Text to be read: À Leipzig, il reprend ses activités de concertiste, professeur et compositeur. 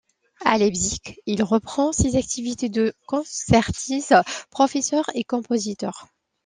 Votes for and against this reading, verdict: 2, 0, accepted